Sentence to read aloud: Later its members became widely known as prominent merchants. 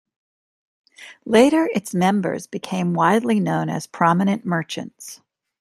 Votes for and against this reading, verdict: 2, 0, accepted